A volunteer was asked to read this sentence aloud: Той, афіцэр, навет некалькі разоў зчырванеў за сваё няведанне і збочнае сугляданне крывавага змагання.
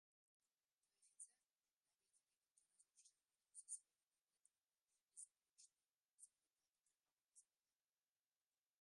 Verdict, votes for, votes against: rejected, 0, 2